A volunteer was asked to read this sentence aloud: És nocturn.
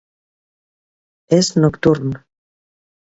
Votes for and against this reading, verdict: 2, 0, accepted